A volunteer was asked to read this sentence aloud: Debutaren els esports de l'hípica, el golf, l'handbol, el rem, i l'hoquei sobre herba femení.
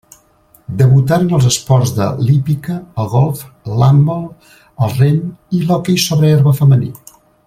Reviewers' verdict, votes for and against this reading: rejected, 0, 2